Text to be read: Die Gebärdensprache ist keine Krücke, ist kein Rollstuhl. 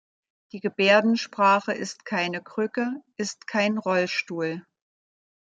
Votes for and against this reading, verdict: 1, 2, rejected